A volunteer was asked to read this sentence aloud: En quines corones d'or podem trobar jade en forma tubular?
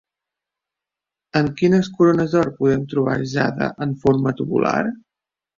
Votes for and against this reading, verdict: 2, 0, accepted